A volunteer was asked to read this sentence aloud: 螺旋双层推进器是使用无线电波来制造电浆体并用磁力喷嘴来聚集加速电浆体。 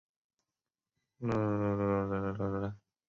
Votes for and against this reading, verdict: 0, 3, rejected